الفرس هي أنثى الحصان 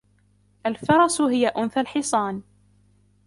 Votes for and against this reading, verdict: 1, 2, rejected